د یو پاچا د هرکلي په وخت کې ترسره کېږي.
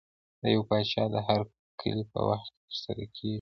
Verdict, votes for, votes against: rejected, 0, 2